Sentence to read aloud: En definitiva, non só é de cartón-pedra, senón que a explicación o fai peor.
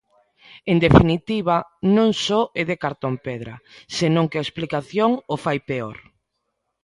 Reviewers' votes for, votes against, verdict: 3, 0, accepted